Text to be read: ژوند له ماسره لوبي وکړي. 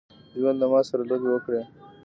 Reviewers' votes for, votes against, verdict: 1, 2, rejected